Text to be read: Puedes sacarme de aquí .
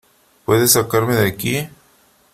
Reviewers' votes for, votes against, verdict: 3, 1, accepted